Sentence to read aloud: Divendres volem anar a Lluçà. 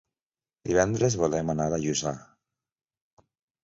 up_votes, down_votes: 2, 0